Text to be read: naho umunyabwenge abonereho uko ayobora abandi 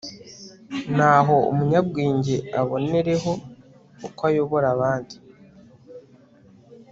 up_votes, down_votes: 2, 0